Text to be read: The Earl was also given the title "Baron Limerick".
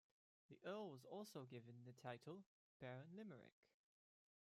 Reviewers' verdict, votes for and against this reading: rejected, 0, 2